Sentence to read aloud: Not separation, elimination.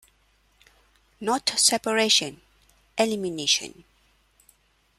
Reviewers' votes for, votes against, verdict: 2, 0, accepted